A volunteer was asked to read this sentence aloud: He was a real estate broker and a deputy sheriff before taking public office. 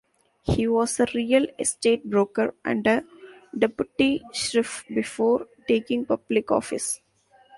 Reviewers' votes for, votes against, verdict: 1, 2, rejected